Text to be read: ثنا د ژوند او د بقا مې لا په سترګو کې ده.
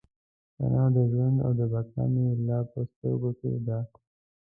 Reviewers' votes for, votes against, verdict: 2, 0, accepted